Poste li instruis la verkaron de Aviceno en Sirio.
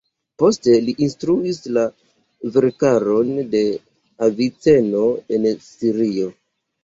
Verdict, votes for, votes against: rejected, 1, 2